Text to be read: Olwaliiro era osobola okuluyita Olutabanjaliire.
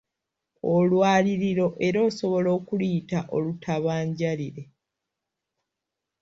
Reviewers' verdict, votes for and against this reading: rejected, 1, 2